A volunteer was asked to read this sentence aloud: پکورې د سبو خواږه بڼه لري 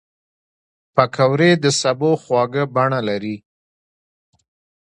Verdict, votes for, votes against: rejected, 1, 2